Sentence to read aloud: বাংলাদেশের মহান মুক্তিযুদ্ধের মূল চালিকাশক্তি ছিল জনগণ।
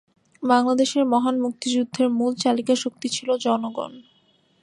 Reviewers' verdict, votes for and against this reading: accepted, 2, 0